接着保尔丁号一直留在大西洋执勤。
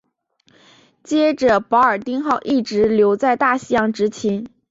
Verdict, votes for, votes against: accepted, 3, 1